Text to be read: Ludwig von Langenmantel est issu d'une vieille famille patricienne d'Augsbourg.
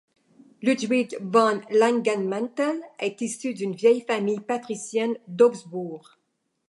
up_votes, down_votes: 2, 0